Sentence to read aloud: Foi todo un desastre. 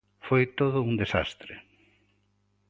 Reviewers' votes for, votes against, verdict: 2, 0, accepted